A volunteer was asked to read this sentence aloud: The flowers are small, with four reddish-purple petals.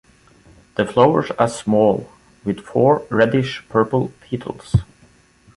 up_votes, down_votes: 1, 2